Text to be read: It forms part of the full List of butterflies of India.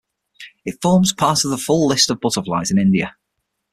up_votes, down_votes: 6, 3